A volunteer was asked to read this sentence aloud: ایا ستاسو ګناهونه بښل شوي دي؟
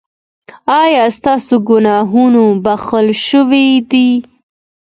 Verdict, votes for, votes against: accepted, 2, 0